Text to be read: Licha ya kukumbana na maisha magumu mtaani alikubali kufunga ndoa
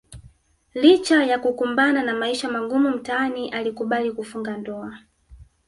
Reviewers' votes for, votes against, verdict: 2, 0, accepted